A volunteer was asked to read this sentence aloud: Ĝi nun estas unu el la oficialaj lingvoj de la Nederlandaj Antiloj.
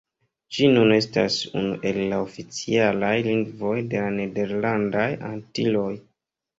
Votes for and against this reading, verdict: 1, 2, rejected